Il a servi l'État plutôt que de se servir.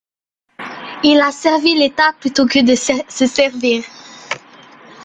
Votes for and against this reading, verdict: 1, 2, rejected